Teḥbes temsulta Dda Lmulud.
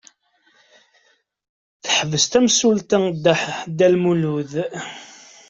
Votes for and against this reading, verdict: 1, 2, rejected